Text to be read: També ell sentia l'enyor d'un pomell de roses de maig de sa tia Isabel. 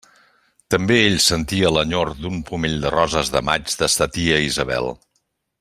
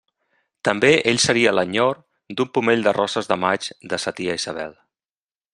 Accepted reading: first